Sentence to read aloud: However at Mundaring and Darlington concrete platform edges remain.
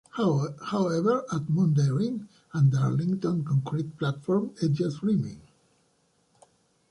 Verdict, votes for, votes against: rejected, 0, 2